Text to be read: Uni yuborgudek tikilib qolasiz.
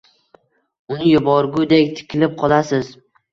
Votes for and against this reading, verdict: 1, 2, rejected